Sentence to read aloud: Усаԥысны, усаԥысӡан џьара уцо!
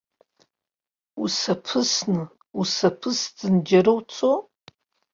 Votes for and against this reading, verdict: 2, 0, accepted